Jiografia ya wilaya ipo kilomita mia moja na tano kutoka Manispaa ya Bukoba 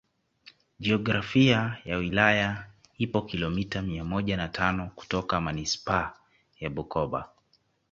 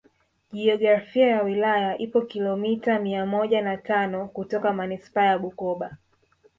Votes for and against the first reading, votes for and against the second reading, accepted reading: 2, 1, 1, 2, first